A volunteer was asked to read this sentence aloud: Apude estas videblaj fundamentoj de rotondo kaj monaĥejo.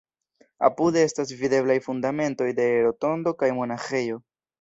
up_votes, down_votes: 1, 2